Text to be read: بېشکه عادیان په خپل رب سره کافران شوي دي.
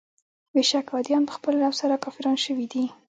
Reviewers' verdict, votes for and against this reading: rejected, 0, 2